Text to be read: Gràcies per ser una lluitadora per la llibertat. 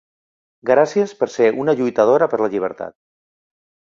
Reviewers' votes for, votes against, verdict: 3, 0, accepted